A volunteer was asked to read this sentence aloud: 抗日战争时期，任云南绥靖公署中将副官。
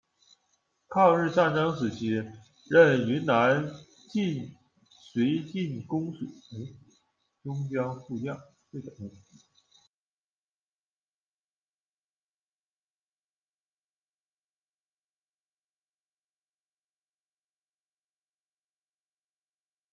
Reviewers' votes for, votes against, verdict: 0, 2, rejected